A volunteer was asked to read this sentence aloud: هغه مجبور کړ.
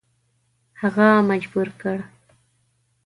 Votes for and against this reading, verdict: 2, 0, accepted